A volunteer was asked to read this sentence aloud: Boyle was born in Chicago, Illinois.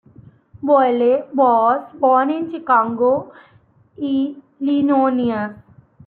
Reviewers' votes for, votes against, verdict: 0, 2, rejected